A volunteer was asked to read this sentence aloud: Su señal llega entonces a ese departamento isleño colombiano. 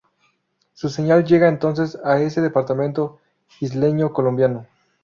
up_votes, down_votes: 2, 0